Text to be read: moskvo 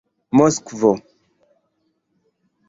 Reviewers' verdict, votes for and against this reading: accepted, 2, 0